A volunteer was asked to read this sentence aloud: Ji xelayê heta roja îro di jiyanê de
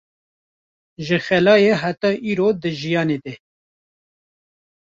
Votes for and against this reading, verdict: 0, 2, rejected